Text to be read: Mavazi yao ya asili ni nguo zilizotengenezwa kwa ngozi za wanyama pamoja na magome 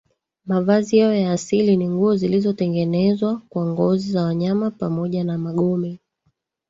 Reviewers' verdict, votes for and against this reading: rejected, 0, 2